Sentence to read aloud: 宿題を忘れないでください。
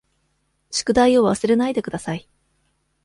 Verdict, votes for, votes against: accepted, 2, 0